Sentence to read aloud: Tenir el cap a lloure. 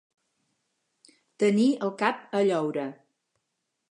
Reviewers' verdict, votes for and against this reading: accepted, 4, 0